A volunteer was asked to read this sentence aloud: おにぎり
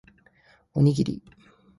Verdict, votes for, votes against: accepted, 5, 0